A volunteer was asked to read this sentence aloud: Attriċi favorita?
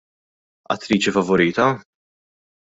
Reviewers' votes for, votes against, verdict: 2, 0, accepted